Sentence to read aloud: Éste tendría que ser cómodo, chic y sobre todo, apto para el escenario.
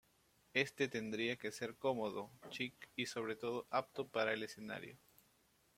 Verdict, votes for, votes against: accepted, 2, 0